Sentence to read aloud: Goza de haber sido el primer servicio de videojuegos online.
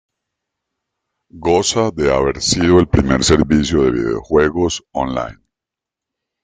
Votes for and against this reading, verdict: 2, 0, accepted